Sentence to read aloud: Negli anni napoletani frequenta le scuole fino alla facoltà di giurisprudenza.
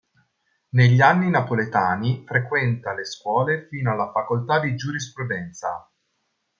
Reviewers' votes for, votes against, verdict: 2, 0, accepted